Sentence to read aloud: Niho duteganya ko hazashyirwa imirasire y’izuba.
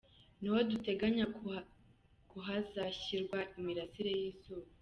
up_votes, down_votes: 0, 2